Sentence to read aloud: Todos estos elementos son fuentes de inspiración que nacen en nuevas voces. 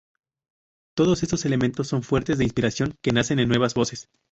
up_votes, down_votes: 2, 2